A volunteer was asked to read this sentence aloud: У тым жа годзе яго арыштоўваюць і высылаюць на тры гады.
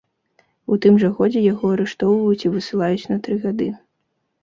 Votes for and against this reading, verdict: 2, 0, accepted